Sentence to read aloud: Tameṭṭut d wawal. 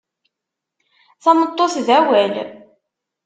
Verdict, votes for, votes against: rejected, 0, 2